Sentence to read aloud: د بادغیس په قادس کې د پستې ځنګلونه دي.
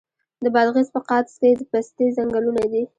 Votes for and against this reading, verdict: 1, 2, rejected